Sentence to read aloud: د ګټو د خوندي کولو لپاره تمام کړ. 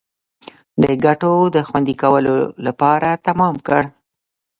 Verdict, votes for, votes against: rejected, 1, 2